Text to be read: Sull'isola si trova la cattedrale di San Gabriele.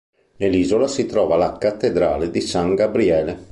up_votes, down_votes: 0, 2